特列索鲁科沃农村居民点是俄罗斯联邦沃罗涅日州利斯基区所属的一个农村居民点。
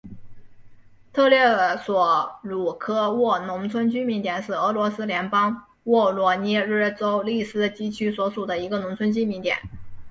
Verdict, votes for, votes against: accepted, 2, 0